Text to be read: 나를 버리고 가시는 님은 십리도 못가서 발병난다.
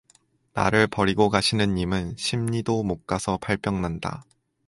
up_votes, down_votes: 2, 0